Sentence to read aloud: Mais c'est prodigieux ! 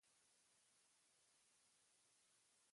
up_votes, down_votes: 0, 2